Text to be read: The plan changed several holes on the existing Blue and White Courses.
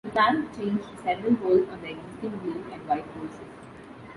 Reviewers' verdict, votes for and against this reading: rejected, 0, 2